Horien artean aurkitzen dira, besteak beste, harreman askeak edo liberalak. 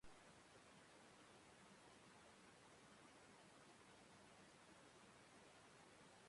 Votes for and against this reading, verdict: 0, 2, rejected